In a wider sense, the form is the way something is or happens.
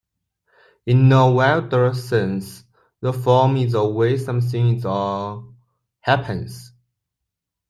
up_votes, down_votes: 2, 1